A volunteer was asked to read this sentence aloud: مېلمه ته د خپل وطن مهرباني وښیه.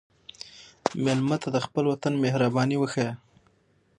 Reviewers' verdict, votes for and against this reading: accepted, 6, 0